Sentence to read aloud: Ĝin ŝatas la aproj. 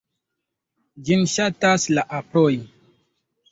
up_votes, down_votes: 2, 0